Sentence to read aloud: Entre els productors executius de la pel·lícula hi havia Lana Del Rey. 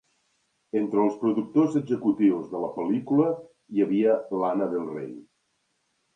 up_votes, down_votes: 3, 0